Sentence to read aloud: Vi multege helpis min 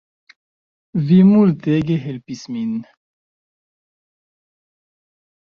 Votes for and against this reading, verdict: 1, 2, rejected